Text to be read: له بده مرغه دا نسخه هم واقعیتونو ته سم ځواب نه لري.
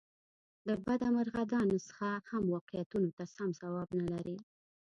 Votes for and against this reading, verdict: 2, 0, accepted